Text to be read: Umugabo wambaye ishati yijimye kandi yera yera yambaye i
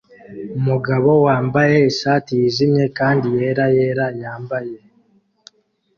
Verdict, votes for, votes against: accepted, 2, 1